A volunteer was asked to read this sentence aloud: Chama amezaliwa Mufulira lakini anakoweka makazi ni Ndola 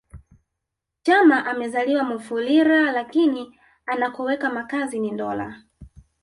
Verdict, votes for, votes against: accepted, 2, 0